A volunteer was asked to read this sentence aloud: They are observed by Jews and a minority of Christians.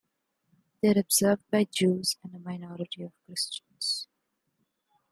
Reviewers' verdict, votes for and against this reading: rejected, 1, 2